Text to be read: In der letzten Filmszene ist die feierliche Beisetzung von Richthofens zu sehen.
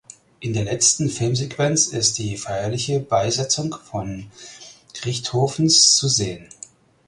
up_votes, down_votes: 0, 4